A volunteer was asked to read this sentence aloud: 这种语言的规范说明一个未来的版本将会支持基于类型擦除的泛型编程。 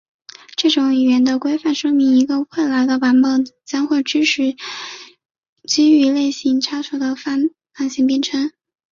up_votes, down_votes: 1, 3